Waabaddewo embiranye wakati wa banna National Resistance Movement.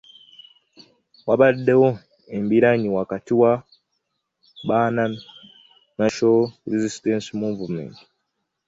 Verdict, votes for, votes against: rejected, 1, 2